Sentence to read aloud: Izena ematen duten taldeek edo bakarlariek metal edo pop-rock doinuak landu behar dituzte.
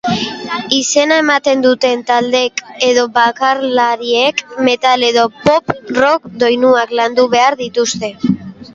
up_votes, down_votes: 2, 0